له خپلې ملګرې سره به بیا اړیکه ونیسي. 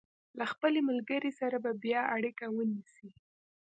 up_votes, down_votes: 2, 0